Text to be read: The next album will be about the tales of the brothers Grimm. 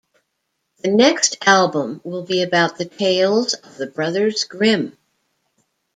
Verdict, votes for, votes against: accepted, 2, 0